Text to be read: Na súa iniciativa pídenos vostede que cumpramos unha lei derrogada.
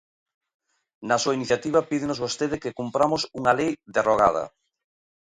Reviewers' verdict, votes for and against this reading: accepted, 2, 0